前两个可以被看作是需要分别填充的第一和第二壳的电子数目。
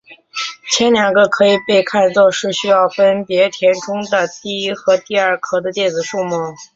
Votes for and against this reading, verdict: 2, 0, accepted